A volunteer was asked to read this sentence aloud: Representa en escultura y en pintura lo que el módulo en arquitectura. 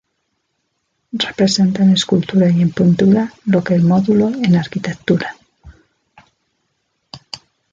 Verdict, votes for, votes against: rejected, 0, 2